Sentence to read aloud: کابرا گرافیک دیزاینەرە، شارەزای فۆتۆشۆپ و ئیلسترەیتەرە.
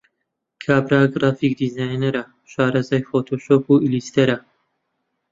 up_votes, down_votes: 0, 2